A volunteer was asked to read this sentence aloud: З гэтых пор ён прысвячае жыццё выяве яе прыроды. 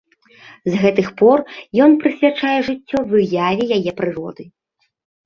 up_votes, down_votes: 2, 0